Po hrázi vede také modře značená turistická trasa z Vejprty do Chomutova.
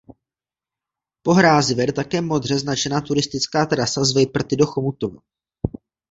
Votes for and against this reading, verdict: 0, 2, rejected